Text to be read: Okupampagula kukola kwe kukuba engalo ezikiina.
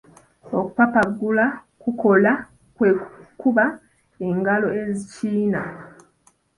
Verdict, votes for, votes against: rejected, 1, 2